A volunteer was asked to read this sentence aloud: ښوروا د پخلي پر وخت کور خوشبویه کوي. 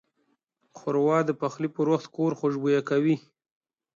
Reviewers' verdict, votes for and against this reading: accepted, 2, 0